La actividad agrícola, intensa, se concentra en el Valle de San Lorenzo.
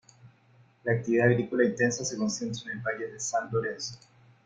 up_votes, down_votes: 1, 2